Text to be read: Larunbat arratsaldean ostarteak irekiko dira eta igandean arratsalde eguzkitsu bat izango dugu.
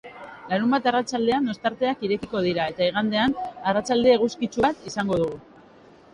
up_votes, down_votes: 0, 2